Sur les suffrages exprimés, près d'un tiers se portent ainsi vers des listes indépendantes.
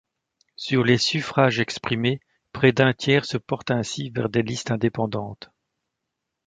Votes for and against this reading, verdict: 2, 0, accepted